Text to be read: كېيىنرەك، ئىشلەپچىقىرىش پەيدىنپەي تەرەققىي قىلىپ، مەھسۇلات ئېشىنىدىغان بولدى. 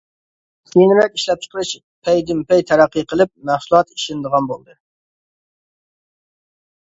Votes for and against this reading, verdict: 1, 2, rejected